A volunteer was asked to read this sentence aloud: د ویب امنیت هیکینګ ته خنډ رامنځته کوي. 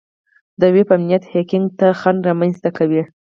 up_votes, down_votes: 0, 4